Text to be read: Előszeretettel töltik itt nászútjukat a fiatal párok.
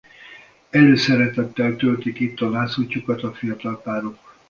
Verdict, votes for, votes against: rejected, 1, 2